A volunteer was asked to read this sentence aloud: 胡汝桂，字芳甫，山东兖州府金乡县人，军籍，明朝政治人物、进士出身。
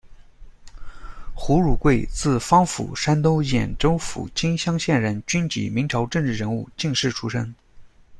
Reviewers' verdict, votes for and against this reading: accepted, 2, 0